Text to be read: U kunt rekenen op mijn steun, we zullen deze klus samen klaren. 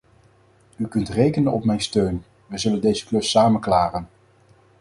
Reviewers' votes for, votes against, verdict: 4, 0, accepted